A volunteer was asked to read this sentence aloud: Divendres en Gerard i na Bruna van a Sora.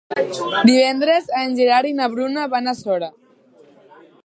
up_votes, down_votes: 0, 2